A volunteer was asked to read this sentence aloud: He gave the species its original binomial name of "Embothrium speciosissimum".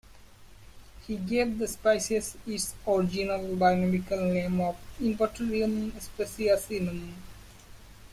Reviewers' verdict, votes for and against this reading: rejected, 0, 2